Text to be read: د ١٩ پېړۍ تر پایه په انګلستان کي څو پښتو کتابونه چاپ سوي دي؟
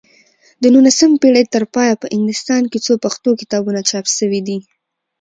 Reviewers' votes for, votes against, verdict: 0, 2, rejected